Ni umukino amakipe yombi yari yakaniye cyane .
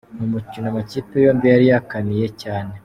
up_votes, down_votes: 2, 0